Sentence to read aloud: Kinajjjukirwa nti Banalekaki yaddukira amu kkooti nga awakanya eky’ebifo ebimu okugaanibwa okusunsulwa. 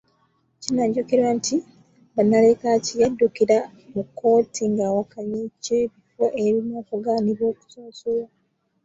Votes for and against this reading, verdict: 1, 2, rejected